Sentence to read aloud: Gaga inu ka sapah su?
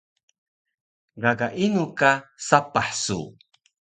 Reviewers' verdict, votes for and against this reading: accepted, 2, 0